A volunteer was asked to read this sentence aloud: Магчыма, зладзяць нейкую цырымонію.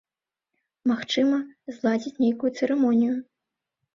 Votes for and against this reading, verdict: 2, 0, accepted